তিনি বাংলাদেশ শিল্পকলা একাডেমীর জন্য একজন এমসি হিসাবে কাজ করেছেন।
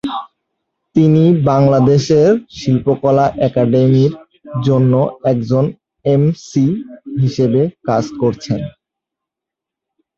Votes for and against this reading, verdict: 0, 3, rejected